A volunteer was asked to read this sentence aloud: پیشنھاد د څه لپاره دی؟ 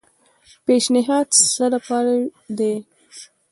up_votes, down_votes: 0, 2